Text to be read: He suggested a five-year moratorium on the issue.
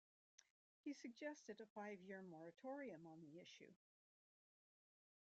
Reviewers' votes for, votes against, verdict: 0, 2, rejected